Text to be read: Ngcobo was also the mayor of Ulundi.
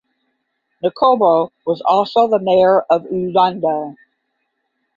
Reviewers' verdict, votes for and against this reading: accepted, 10, 0